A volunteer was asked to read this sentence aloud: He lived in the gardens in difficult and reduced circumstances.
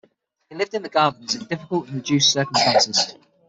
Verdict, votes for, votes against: rejected, 0, 6